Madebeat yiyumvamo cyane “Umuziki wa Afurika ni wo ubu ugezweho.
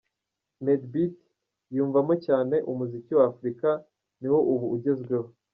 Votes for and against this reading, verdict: 1, 2, rejected